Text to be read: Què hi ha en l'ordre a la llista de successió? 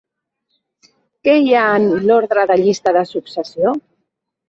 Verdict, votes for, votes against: rejected, 1, 3